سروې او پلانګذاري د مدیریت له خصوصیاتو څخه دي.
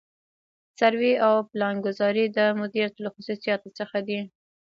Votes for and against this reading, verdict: 0, 2, rejected